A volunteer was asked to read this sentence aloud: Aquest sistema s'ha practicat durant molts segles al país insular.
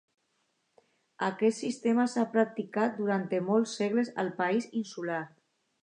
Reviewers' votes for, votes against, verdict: 2, 1, accepted